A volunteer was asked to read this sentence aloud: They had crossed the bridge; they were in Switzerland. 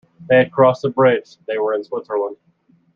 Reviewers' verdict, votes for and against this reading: accepted, 2, 0